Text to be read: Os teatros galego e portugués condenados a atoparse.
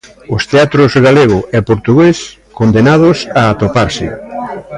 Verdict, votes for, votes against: rejected, 1, 2